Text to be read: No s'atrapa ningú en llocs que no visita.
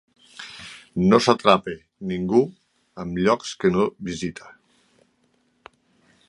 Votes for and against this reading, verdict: 2, 1, accepted